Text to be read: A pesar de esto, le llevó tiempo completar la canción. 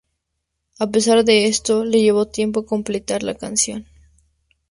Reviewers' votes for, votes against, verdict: 4, 0, accepted